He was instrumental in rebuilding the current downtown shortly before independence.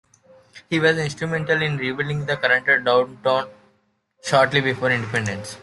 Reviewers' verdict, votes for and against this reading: rejected, 0, 2